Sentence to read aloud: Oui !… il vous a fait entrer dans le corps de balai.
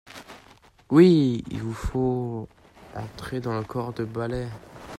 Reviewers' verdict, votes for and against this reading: rejected, 0, 2